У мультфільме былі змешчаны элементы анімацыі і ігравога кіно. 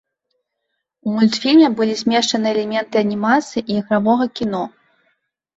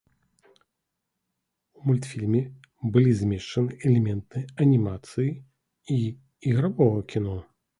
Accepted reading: first